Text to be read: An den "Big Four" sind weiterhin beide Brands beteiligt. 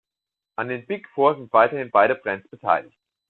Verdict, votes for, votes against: accepted, 2, 1